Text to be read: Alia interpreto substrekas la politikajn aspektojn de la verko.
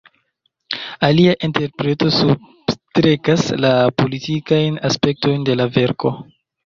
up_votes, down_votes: 0, 2